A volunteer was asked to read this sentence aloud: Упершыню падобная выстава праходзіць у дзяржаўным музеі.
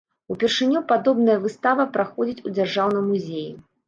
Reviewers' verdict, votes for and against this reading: accepted, 2, 0